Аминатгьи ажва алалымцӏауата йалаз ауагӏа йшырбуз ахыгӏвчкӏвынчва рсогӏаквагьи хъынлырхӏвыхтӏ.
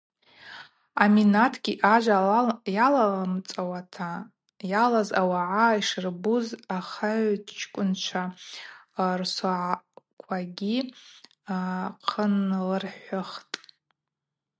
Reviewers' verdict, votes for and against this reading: accepted, 2, 0